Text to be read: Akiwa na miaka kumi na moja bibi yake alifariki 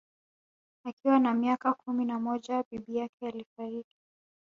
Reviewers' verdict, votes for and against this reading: rejected, 1, 2